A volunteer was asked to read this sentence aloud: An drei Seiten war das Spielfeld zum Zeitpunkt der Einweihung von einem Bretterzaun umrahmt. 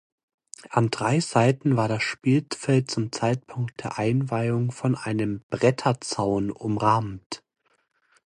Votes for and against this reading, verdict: 0, 2, rejected